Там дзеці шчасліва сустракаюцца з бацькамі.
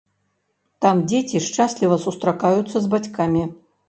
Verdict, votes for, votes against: rejected, 1, 2